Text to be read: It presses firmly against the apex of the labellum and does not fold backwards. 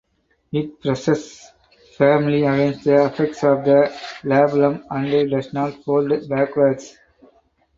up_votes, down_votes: 4, 0